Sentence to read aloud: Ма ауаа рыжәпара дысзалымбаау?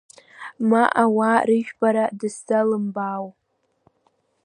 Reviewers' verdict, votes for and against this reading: rejected, 1, 2